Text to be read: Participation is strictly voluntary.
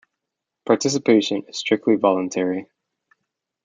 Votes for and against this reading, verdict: 2, 1, accepted